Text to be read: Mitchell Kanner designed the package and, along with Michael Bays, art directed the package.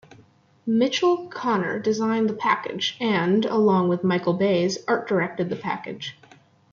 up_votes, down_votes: 2, 1